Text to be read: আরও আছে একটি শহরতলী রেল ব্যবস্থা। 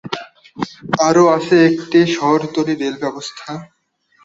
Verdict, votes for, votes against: accepted, 3, 1